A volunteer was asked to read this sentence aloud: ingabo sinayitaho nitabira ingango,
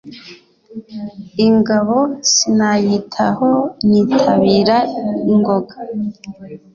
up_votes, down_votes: 1, 2